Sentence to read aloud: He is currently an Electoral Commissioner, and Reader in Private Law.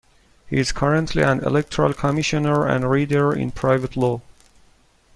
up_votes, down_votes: 2, 1